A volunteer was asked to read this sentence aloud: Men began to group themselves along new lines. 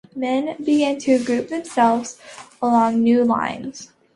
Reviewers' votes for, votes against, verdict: 2, 0, accepted